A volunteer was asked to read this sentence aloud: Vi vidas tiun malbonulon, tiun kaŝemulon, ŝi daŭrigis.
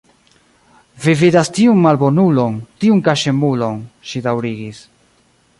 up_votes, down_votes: 2, 1